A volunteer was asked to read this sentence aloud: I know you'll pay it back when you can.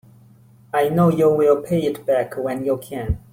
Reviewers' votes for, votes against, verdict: 1, 2, rejected